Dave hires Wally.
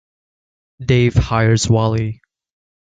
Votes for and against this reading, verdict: 2, 0, accepted